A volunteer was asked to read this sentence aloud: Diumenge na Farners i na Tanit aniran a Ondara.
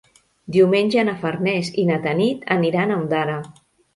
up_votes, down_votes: 3, 0